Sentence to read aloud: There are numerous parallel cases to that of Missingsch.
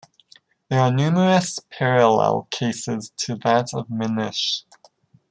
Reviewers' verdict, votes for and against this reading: rejected, 0, 3